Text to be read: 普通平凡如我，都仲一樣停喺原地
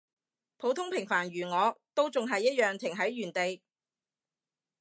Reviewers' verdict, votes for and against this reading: rejected, 0, 2